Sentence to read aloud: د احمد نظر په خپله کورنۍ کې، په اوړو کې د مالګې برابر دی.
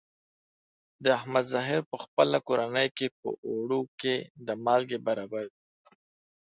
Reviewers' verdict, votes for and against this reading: rejected, 0, 2